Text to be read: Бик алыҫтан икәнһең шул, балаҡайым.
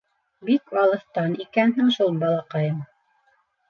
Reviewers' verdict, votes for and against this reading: accepted, 2, 0